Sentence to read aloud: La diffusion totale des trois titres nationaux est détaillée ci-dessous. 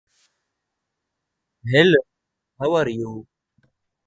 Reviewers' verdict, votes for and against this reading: rejected, 1, 2